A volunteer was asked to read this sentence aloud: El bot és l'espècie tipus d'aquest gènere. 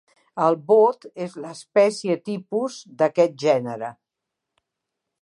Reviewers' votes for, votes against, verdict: 0, 2, rejected